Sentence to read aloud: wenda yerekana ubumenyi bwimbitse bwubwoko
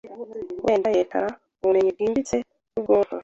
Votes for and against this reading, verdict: 1, 2, rejected